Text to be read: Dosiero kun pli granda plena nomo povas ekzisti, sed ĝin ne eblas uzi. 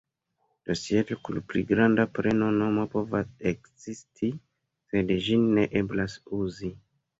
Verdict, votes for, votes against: rejected, 0, 2